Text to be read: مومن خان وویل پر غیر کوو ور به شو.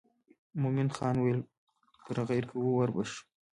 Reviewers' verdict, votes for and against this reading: accepted, 2, 0